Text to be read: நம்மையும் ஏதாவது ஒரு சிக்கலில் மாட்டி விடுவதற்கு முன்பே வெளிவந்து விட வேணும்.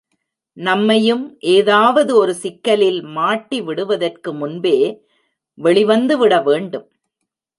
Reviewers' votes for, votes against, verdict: 1, 2, rejected